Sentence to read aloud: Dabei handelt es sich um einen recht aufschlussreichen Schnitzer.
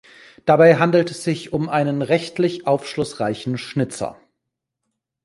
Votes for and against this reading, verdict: 1, 3, rejected